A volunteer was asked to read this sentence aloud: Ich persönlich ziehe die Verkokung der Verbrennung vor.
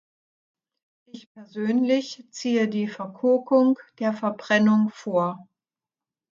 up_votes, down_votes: 0, 2